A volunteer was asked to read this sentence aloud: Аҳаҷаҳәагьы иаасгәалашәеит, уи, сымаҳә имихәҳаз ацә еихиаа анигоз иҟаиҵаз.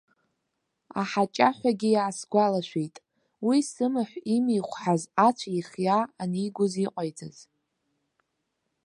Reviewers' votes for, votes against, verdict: 2, 0, accepted